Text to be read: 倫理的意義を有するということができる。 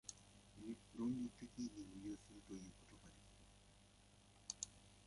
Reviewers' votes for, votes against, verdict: 0, 2, rejected